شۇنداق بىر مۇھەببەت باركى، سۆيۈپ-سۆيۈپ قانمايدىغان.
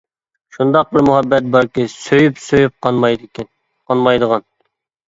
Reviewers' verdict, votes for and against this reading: rejected, 0, 2